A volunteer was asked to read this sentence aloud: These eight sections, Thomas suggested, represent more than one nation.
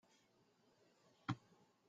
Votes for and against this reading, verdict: 0, 2, rejected